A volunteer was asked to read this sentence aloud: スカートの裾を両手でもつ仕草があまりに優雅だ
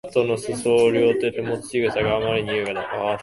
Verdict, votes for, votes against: accepted, 2, 0